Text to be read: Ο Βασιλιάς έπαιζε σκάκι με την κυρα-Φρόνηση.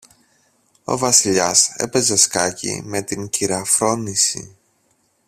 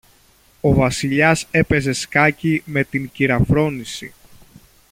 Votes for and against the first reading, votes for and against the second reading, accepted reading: 1, 2, 2, 0, second